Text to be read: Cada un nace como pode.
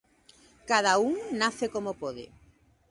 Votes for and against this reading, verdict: 2, 0, accepted